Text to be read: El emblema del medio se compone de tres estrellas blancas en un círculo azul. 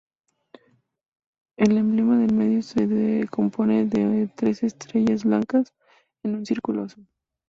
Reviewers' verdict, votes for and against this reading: accepted, 2, 0